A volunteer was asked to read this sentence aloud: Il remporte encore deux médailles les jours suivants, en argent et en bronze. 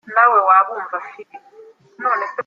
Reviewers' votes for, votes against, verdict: 0, 2, rejected